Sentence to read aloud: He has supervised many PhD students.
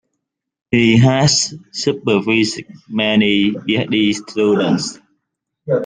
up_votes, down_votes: 1, 2